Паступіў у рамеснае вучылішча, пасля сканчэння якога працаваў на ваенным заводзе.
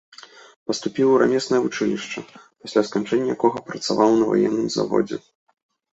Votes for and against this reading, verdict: 2, 0, accepted